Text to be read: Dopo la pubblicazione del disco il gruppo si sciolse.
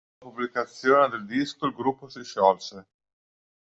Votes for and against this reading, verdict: 0, 2, rejected